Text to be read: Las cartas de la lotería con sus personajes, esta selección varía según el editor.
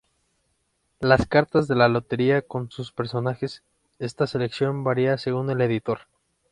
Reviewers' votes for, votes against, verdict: 2, 0, accepted